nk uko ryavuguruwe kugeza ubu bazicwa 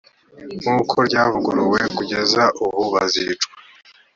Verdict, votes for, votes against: accepted, 3, 0